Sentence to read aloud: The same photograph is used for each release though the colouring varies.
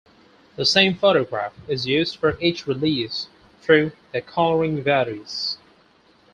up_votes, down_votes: 4, 0